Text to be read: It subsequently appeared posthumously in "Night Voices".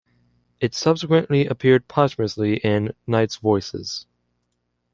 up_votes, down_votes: 2, 0